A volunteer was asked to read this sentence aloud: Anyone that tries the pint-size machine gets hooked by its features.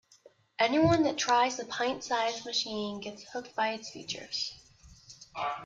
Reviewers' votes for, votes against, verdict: 2, 1, accepted